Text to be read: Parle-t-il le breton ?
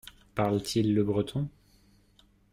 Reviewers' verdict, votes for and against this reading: accepted, 2, 0